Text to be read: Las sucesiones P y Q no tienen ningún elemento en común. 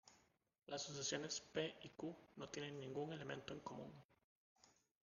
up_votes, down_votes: 1, 2